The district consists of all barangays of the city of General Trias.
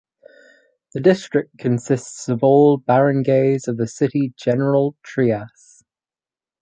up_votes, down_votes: 0, 4